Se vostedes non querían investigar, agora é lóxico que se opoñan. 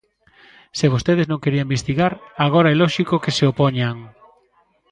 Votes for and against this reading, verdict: 0, 2, rejected